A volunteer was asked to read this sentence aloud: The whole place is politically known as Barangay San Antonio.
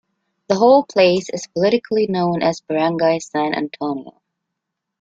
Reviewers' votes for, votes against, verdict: 2, 0, accepted